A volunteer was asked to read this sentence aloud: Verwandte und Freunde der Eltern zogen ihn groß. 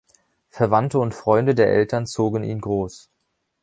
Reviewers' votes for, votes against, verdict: 2, 0, accepted